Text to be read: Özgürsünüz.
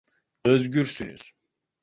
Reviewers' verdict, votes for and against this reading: accepted, 2, 0